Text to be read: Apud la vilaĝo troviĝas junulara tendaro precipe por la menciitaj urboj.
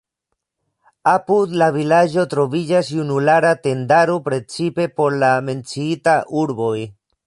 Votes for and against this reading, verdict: 1, 2, rejected